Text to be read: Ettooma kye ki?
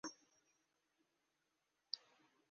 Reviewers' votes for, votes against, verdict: 0, 2, rejected